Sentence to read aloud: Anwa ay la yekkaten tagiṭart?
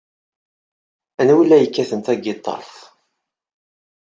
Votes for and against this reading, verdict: 2, 0, accepted